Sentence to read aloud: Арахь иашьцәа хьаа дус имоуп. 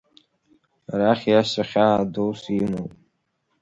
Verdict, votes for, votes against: rejected, 0, 2